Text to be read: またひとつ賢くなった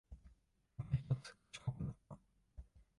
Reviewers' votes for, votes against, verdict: 0, 2, rejected